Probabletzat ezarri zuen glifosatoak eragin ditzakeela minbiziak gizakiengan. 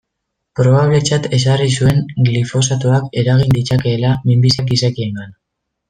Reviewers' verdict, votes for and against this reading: rejected, 1, 2